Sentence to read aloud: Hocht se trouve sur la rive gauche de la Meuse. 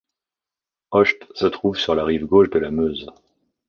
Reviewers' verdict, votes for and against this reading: accepted, 2, 0